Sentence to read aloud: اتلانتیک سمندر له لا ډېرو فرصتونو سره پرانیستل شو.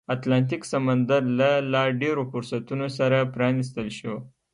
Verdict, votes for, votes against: rejected, 1, 2